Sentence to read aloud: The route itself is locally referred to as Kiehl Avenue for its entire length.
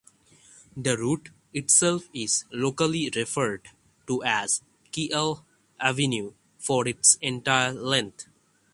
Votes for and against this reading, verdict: 3, 6, rejected